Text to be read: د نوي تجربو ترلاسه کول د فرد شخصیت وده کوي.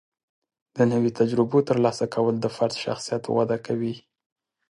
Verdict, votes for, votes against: accepted, 2, 0